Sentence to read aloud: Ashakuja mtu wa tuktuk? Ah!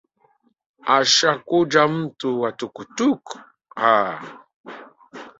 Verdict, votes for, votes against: accepted, 2, 1